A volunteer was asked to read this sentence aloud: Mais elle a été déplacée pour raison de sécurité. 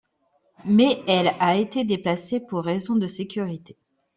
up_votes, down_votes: 2, 1